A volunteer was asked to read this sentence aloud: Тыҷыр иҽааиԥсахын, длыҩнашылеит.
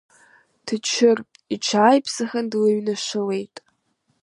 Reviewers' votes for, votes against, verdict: 2, 0, accepted